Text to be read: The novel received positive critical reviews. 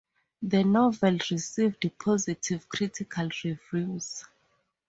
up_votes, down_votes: 2, 2